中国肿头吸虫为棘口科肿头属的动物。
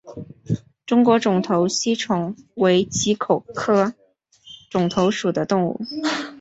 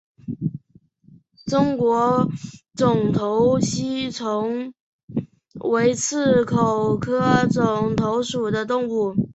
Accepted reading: first